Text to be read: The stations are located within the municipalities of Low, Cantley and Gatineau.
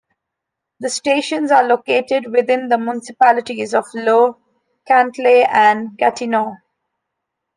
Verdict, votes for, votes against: accepted, 2, 1